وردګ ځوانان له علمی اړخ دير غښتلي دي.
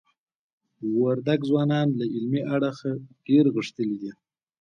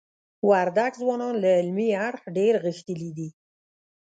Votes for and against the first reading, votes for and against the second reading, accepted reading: 2, 0, 1, 2, first